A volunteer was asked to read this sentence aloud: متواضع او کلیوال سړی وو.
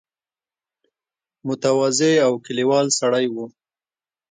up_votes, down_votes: 2, 0